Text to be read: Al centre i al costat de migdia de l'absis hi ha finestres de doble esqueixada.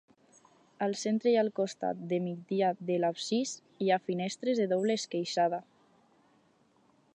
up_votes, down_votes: 4, 0